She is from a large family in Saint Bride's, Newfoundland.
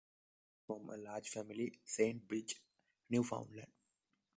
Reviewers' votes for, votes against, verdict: 1, 2, rejected